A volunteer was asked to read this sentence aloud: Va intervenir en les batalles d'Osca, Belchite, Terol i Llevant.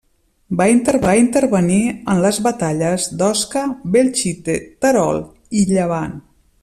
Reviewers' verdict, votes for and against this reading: rejected, 0, 2